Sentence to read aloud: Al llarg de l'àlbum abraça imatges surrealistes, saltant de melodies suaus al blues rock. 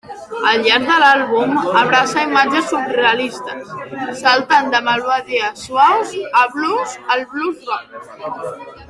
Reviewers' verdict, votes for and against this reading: rejected, 0, 2